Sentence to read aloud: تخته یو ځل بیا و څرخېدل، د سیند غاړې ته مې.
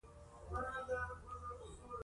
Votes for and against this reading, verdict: 3, 0, accepted